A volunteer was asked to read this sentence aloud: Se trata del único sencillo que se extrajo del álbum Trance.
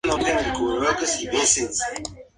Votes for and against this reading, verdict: 0, 2, rejected